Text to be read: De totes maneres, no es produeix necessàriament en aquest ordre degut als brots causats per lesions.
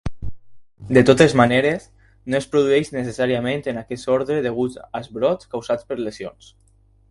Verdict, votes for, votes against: accepted, 4, 0